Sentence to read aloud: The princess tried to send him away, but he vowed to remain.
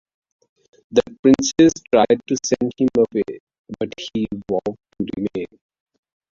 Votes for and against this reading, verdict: 1, 2, rejected